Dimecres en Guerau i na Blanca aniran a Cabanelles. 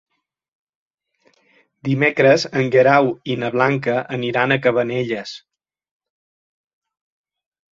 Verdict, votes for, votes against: accepted, 3, 0